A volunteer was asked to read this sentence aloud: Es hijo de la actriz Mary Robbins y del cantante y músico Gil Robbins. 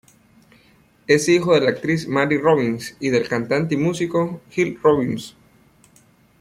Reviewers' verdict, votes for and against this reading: rejected, 1, 2